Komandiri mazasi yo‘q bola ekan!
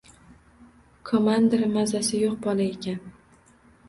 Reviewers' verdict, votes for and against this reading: accepted, 2, 0